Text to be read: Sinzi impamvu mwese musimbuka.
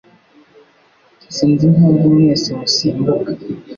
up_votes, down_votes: 2, 0